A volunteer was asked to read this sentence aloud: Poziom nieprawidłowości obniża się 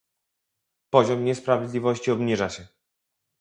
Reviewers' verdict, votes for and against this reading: rejected, 2, 2